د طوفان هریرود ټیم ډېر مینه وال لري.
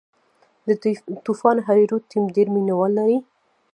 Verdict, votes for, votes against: rejected, 0, 2